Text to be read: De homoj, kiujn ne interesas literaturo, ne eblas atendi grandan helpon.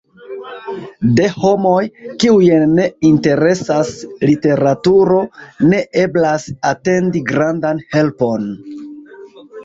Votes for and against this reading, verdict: 0, 2, rejected